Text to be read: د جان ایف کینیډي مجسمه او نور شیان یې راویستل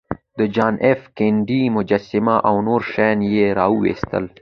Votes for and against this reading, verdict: 2, 0, accepted